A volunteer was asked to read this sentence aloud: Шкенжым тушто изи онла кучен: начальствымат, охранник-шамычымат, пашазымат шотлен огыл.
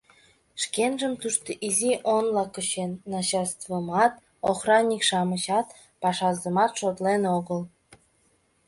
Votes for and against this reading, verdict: 0, 2, rejected